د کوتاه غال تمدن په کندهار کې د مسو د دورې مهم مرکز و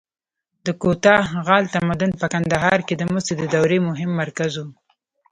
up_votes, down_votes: 2, 0